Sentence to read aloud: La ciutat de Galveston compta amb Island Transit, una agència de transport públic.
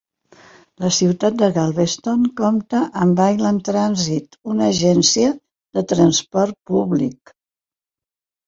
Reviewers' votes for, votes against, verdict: 2, 0, accepted